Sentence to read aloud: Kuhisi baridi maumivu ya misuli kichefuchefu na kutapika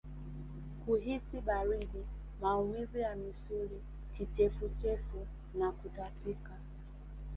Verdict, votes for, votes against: rejected, 0, 2